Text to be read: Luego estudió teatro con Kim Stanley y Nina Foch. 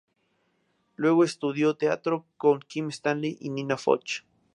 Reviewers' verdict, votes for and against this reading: accepted, 4, 0